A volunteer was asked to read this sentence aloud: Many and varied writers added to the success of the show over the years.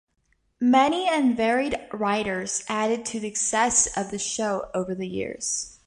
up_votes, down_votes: 2, 0